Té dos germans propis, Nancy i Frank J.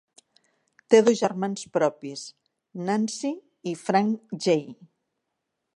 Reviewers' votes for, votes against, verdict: 3, 1, accepted